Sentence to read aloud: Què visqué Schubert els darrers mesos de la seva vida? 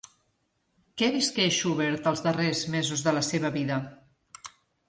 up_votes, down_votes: 2, 0